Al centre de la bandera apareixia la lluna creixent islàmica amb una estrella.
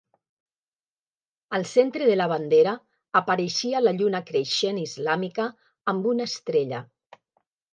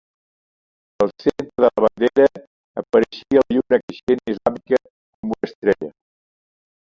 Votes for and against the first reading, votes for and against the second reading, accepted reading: 2, 0, 0, 2, first